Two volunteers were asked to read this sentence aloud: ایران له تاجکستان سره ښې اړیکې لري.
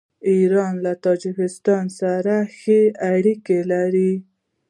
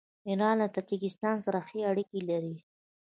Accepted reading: second